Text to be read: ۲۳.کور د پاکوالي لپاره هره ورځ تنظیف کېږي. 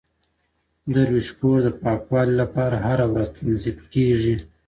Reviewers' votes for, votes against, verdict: 0, 2, rejected